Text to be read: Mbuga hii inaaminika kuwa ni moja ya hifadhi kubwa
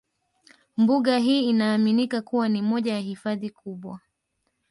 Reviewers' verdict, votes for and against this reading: accepted, 2, 1